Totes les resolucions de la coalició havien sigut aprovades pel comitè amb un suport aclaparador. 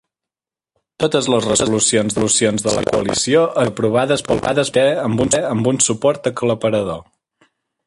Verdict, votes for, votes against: rejected, 0, 2